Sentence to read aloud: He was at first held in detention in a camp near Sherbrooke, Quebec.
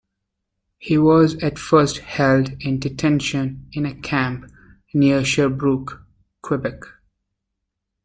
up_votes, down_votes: 2, 0